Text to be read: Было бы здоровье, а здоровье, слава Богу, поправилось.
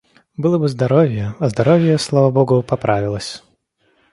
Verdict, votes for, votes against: accepted, 2, 0